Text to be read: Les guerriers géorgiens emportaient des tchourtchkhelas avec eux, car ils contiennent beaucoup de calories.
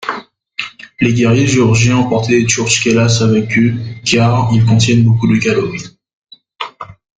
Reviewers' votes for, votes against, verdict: 1, 2, rejected